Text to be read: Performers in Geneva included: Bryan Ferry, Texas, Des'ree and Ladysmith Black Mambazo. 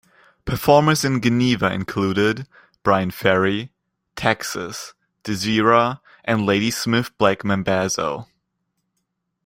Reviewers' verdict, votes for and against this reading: rejected, 1, 2